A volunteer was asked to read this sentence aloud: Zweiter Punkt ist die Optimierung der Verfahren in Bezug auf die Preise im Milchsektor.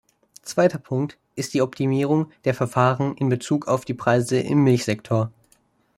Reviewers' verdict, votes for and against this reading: accepted, 2, 0